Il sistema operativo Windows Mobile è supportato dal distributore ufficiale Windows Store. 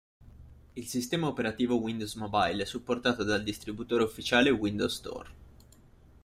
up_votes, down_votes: 2, 0